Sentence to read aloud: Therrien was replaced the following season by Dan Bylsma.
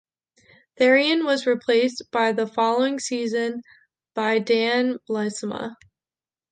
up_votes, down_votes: 0, 2